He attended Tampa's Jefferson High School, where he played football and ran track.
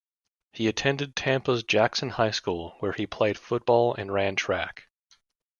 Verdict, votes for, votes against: rejected, 0, 2